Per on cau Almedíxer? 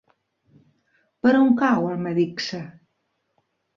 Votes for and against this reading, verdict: 2, 0, accepted